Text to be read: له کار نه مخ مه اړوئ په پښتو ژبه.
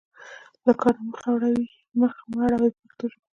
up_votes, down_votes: 1, 2